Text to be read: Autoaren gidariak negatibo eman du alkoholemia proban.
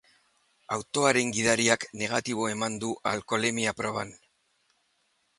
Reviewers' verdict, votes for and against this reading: accepted, 3, 0